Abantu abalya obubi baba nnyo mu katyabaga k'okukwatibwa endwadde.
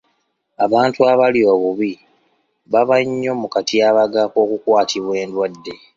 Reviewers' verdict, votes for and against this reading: accepted, 2, 0